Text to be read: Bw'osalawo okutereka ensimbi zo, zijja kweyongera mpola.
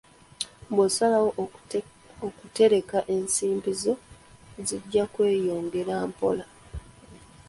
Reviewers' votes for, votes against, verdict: 2, 1, accepted